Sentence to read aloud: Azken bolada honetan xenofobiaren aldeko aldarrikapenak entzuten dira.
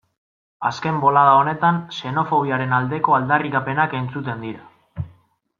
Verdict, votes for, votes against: accepted, 2, 0